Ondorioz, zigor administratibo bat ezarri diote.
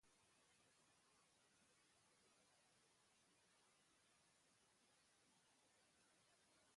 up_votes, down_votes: 0, 3